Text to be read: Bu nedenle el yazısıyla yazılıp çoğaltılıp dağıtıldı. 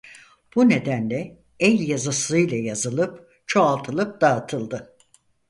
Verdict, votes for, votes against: accepted, 4, 0